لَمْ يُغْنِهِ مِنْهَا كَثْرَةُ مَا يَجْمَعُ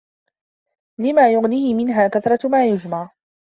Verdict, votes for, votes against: rejected, 1, 2